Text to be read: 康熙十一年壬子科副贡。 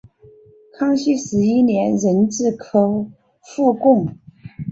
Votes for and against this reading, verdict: 3, 1, accepted